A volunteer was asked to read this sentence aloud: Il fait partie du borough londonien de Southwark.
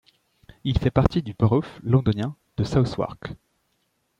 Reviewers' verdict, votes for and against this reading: rejected, 1, 2